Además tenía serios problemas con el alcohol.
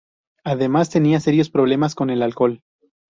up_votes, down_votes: 2, 0